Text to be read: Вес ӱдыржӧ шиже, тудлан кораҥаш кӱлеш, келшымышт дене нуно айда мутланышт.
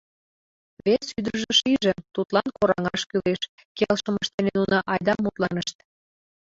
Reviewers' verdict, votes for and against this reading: rejected, 1, 2